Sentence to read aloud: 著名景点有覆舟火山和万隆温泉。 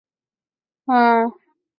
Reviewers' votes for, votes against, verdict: 0, 5, rejected